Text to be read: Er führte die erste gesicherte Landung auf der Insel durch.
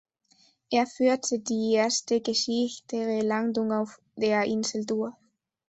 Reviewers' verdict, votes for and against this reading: rejected, 0, 2